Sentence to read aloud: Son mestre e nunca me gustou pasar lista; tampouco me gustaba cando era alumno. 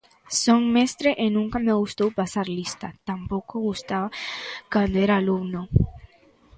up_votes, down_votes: 0, 2